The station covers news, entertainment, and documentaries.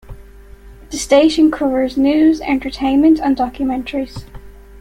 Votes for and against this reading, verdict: 2, 0, accepted